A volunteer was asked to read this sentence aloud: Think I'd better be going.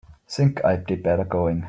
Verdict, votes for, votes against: rejected, 0, 2